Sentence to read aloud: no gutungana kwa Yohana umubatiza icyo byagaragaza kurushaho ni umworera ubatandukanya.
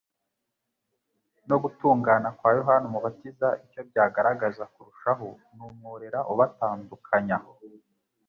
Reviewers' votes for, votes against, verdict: 2, 0, accepted